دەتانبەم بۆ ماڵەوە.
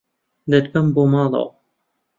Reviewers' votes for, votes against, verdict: 0, 2, rejected